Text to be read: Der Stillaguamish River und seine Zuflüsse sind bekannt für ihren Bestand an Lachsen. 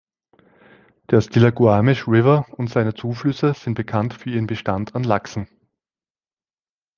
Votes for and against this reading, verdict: 2, 0, accepted